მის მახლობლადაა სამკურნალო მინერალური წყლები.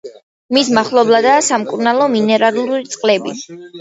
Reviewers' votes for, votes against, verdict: 2, 0, accepted